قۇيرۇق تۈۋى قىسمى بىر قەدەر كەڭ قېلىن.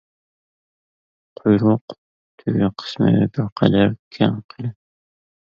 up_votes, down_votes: 0, 2